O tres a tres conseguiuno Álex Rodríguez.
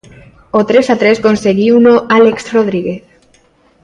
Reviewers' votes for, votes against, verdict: 2, 0, accepted